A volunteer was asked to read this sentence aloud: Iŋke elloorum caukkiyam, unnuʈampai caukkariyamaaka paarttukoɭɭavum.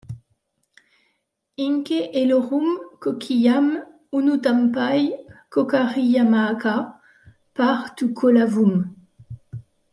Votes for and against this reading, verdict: 0, 2, rejected